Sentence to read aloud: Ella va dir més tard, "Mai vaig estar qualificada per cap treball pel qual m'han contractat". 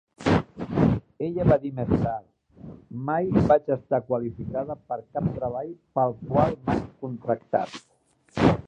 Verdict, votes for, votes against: rejected, 1, 2